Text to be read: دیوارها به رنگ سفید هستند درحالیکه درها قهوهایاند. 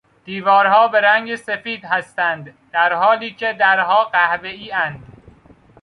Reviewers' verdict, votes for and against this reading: accepted, 2, 0